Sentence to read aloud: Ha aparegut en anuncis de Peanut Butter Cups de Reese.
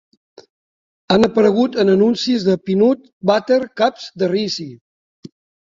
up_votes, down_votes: 1, 2